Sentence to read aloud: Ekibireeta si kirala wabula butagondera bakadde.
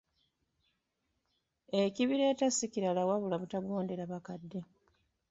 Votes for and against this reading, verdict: 1, 2, rejected